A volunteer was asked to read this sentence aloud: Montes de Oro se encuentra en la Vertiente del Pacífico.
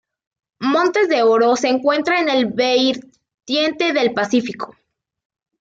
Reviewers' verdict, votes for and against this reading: rejected, 0, 2